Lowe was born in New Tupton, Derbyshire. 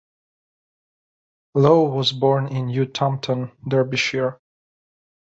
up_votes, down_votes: 2, 1